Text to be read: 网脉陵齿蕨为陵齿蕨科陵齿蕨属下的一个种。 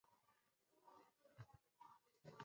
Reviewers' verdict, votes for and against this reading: rejected, 1, 3